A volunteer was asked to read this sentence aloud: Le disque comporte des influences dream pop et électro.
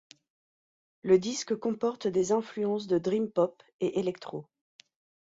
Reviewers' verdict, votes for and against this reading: rejected, 2, 4